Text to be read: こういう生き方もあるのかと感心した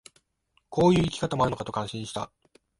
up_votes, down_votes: 1, 2